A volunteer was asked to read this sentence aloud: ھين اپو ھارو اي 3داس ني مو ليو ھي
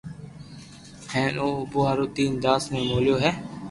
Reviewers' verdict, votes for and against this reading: rejected, 0, 2